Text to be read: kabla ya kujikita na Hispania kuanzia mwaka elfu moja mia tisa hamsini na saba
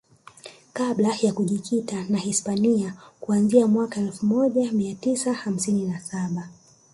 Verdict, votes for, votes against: rejected, 1, 2